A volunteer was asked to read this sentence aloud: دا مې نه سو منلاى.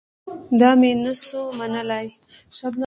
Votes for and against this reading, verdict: 2, 0, accepted